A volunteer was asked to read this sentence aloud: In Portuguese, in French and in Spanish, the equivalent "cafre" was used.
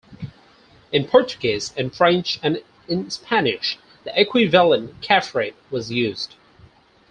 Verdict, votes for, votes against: rejected, 0, 4